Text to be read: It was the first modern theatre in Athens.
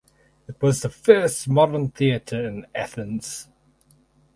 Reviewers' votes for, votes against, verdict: 4, 0, accepted